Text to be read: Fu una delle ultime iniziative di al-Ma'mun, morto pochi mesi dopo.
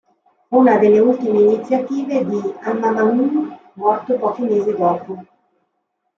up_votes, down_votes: 1, 2